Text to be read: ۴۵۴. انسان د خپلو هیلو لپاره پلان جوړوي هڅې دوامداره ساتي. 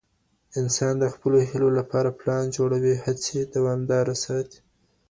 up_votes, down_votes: 0, 2